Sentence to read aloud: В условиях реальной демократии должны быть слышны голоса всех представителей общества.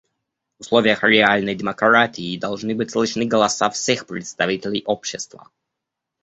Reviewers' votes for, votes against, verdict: 1, 2, rejected